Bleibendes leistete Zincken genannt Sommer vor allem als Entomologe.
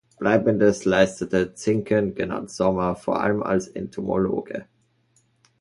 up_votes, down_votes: 2, 0